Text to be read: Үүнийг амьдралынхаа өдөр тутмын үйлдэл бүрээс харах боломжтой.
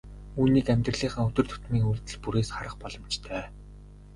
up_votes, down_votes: 2, 0